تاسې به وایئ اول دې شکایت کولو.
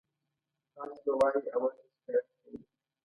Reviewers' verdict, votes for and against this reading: accepted, 2, 0